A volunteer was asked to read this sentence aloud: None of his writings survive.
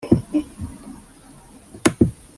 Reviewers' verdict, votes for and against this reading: rejected, 0, 2